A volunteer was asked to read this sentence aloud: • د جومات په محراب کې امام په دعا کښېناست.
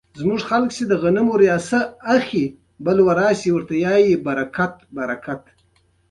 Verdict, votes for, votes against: rejected, 1, 2